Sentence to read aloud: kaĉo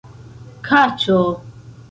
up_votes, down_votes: 2, 1